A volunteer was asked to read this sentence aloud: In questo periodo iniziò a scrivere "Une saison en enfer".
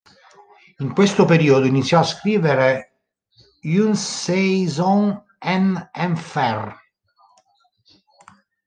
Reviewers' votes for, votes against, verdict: 0, 2, rejected